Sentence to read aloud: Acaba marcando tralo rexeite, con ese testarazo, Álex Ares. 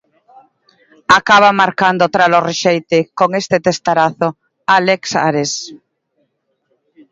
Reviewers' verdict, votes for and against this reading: rejected, 1, 2